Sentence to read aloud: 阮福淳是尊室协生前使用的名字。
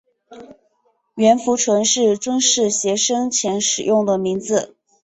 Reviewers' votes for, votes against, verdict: 4, 0, accepted